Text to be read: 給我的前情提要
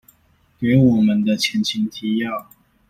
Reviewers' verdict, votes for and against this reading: rejected, 1, 2